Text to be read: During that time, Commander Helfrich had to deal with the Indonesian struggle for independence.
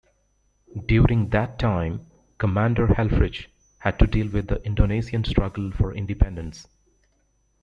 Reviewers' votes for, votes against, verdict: 0, 2, rejected